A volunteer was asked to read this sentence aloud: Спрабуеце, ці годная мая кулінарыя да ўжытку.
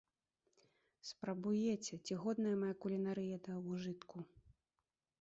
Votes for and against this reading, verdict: 0, 2, rejected